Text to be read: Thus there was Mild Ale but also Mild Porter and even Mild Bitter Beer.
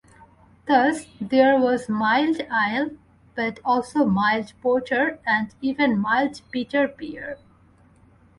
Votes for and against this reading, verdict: 2, 0, accepted